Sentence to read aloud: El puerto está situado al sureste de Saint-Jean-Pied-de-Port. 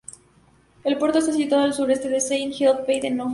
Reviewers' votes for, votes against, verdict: 0, 2, rejected